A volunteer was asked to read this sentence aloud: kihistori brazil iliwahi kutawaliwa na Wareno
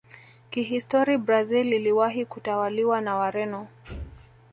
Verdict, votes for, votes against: rejected, 1, 2